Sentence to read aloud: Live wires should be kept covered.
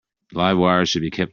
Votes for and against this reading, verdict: 0, 2, rejected